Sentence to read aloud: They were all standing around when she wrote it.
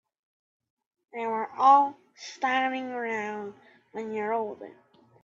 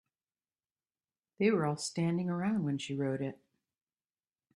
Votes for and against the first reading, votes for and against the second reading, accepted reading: 0, 2, 2, 0, second